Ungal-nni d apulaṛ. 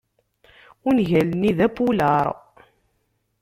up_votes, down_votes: 0, 2